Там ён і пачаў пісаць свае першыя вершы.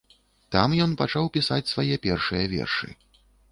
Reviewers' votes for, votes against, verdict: 0, 2, rejected